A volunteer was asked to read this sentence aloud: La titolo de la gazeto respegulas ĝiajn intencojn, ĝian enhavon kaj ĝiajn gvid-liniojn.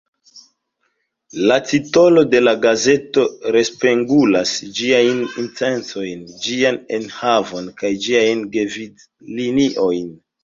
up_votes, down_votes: 1, 2